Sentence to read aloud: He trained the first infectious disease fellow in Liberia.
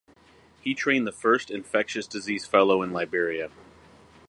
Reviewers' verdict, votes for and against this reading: accepted, 4, 0